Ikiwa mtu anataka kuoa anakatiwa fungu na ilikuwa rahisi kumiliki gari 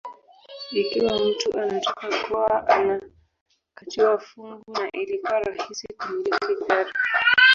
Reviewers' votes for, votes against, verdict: 0, 2, rejected